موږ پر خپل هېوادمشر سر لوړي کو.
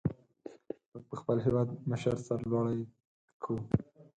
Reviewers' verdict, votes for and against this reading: rejected, 2, 2